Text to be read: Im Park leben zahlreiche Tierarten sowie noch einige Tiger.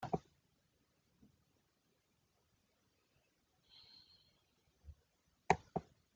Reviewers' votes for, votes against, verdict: 0, 2, rejected